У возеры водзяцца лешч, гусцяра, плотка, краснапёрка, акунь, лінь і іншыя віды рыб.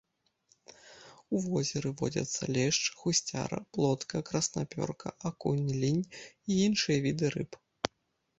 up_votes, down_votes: 0, 2